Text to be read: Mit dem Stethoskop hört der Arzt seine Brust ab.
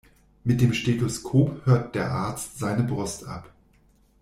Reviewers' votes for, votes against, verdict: 2, 0, accepted